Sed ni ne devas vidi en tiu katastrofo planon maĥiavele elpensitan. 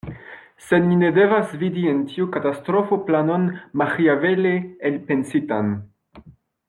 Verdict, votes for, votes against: accepted, 2, 0